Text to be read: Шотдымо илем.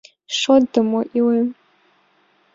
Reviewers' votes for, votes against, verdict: 2, 0, accepted